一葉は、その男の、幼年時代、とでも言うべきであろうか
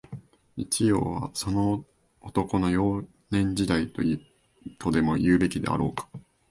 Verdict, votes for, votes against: accepted, 2, 1